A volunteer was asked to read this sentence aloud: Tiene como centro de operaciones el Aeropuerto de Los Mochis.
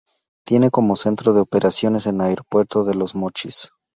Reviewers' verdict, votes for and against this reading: rejected, 0, 2